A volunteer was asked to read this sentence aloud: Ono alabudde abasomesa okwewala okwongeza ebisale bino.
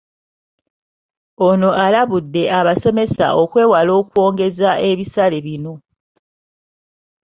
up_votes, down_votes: 1, 2